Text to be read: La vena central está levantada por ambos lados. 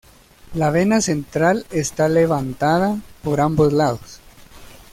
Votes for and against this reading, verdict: 2, 0, accepted